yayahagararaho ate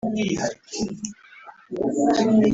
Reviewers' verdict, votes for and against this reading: rejected, 0, 2